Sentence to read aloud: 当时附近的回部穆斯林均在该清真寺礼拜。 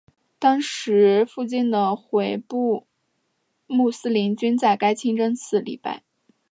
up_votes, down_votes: 2, 0